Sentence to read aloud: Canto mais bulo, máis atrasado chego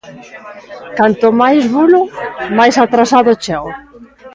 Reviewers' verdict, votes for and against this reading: accepted, 2, 0